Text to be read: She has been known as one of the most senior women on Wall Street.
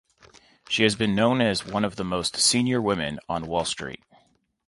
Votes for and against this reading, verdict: 2, 0, accepted